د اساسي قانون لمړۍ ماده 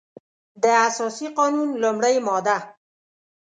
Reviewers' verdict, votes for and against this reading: accepted, 2, 0